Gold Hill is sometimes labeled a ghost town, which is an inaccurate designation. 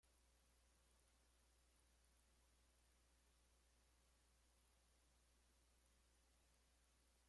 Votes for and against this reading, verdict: 0, 2, rejected